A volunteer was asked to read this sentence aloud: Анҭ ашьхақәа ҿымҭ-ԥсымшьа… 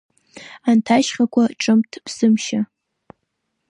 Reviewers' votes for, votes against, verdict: 1, 2, rejected